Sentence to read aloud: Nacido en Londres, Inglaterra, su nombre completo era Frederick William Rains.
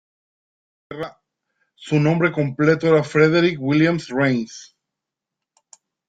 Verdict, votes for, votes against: rejected, 0, 2